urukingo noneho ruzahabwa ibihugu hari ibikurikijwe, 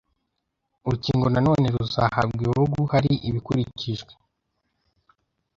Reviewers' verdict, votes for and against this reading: rejected, 1, 2